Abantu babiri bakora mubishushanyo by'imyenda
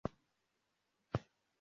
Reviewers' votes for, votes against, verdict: 0, 2, rejected